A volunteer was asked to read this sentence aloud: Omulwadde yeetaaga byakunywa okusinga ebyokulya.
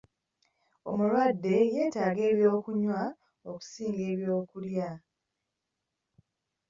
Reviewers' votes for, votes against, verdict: 2, 3, rejected